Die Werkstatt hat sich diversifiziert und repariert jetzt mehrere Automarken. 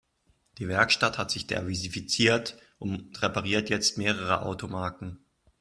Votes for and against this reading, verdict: 1, 2, rejected